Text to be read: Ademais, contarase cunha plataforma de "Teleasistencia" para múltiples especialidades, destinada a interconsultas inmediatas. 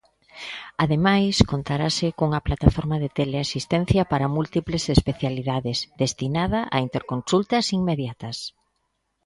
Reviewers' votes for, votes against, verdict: 2, 0, accepted